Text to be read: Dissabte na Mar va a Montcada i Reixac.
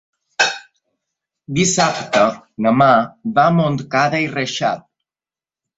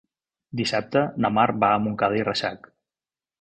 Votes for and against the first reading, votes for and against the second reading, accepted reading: 0, 2, 2, 0, second